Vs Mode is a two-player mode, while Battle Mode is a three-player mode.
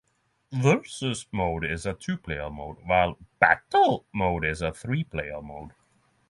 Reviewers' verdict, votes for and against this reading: accepted, 6, 0